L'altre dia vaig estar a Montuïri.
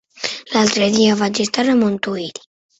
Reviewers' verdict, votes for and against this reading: accepted, 2, 0